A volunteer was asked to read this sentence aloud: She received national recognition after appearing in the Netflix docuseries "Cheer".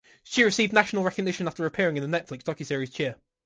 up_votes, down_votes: 3, 1